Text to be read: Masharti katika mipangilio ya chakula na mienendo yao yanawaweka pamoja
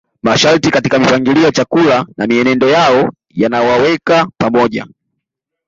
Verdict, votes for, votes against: rejected, 1, 2